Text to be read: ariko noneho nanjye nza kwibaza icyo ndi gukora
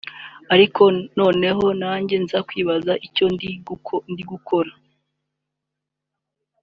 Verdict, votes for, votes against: rejected, 2, 4